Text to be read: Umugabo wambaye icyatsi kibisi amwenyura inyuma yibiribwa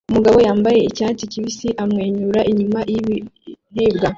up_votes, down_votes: 1, 2